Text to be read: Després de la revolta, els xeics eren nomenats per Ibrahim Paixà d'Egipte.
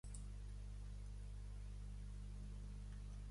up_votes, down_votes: 1, 2